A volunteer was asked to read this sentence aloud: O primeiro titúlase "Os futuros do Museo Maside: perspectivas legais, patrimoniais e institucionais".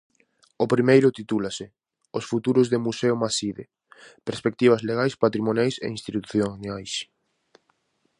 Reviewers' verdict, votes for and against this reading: rejected, 0, 4